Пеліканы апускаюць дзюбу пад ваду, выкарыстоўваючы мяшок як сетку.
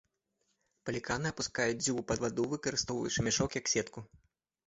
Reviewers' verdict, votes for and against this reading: rejected, 0, 2